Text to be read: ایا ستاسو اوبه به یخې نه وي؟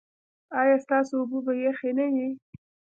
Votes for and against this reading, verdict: 2, 0, accepted